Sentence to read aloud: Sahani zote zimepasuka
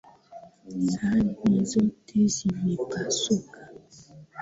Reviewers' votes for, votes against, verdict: 2, 0, accepted